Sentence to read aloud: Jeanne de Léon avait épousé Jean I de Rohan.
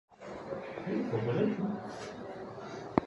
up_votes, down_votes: 0, 2